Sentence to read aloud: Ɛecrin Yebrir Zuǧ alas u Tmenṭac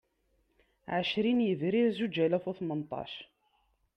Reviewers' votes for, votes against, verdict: 2, 0, accepted